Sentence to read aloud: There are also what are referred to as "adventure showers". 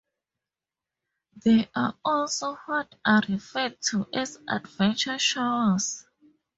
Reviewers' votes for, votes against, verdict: 2, 0, accepted